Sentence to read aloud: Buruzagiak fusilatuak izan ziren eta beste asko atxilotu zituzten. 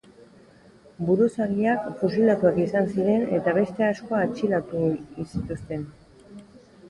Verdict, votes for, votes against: rejected, 2, 3